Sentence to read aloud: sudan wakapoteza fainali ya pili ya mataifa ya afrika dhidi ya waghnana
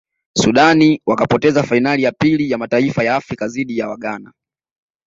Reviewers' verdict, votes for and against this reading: accepted, 2, 0